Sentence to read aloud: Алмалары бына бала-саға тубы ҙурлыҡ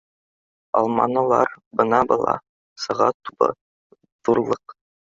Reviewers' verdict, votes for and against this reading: rejected, 0, 2